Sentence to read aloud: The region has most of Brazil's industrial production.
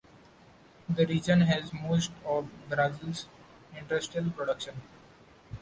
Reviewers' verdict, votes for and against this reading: accepted, 2, 0